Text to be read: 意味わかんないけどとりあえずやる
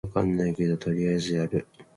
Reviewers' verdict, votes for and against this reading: accepted, 2, 0